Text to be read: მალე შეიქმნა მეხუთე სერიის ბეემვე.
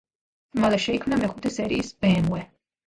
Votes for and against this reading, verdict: 0, 2, rejected